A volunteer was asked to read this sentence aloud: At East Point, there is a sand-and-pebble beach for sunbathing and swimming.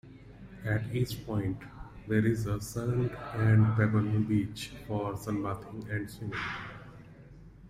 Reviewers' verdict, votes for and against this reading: rejected, 1, 2